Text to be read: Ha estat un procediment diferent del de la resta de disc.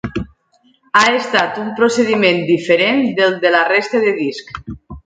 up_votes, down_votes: 3, 0